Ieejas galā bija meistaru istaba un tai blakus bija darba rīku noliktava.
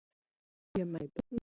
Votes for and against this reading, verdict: 0, 2, rejected